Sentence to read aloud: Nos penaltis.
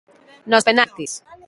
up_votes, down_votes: 1, 2